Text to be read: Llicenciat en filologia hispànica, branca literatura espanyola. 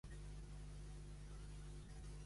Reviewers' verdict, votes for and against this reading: rejected, 0, 2